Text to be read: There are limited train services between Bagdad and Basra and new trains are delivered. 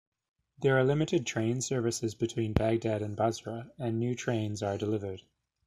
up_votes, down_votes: 2, 0